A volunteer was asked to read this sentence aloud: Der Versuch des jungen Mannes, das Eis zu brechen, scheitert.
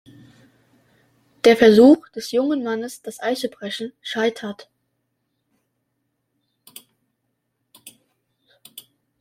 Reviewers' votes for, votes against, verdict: 2, 0, accepted